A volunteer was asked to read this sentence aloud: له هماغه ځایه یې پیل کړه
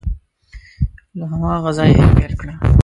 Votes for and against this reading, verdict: 0, 2, rejected